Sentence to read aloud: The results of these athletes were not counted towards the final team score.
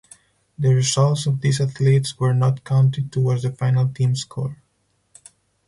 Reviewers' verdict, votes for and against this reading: accepted, 4, 0